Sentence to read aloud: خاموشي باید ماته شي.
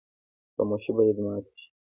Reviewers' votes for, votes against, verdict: 1, 2, rejected